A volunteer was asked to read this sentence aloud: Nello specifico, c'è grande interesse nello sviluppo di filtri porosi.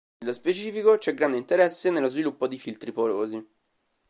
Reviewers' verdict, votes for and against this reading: rejected, 1, 2